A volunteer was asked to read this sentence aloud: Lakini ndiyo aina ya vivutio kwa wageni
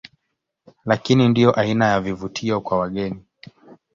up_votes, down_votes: 2, 1